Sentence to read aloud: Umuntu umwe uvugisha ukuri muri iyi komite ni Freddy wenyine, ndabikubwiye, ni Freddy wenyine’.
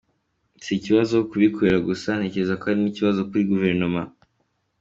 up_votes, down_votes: 0, 2